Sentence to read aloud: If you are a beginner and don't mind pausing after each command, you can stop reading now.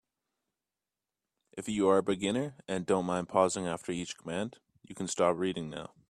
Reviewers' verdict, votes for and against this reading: rejected, 0, 3